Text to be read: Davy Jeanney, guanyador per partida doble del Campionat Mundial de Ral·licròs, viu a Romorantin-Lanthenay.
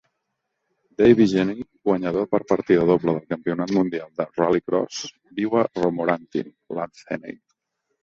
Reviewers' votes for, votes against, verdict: 1, 2, rejected